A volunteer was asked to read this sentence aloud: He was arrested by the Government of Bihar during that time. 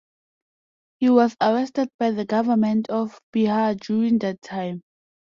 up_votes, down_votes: 2, 0